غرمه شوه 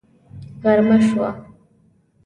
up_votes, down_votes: 2, 0